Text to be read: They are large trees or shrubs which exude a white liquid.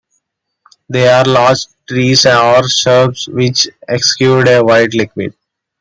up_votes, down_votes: 1, 2